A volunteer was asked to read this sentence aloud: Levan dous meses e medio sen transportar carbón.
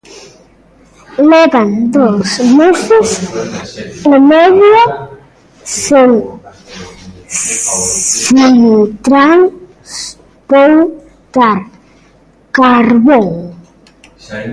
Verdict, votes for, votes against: rejected, 0, 2